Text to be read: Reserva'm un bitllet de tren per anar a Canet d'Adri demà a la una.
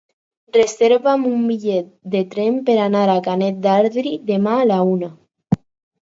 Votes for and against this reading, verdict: 8, 0, accepted